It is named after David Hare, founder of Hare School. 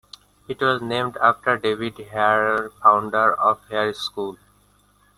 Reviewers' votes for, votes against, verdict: 2, 1, accepted